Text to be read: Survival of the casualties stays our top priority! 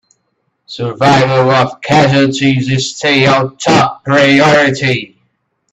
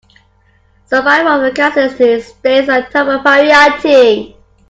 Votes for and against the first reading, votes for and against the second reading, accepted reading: 1, 2, 2, 1, second